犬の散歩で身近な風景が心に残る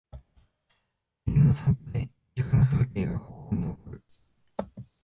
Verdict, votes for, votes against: rejected, 0, 3